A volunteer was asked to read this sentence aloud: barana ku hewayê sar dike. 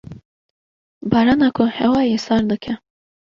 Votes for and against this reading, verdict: 2, 0, accepted